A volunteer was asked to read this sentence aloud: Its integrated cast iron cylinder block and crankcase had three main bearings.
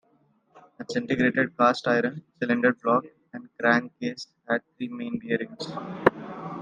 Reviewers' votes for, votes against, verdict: 0, 2, rejected